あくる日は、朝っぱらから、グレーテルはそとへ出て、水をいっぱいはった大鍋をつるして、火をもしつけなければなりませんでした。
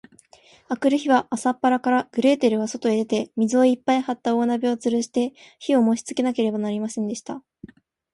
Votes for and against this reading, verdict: 0, 2, rejected